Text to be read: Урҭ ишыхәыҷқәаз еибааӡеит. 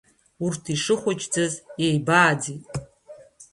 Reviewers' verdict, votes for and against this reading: accepted, 2, 1